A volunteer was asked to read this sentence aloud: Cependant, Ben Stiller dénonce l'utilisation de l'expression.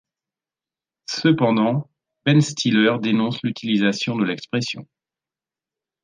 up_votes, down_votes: 3, 0